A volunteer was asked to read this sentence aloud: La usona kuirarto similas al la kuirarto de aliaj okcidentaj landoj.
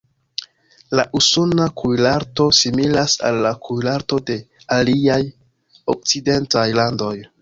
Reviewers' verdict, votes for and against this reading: rejected, 1, 2